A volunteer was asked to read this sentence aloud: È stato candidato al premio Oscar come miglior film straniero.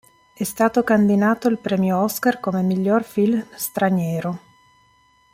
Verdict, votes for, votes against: rejected, 0, 2